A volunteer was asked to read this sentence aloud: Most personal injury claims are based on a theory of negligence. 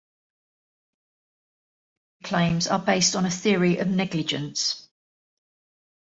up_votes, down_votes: 0, 2